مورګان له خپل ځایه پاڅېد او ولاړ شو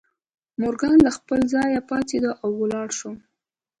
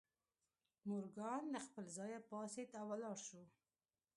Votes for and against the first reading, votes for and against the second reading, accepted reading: 2, 0, 0, 2, first